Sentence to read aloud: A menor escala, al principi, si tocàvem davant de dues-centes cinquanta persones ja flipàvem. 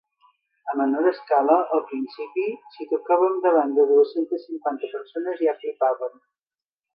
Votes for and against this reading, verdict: 2, 0, accepted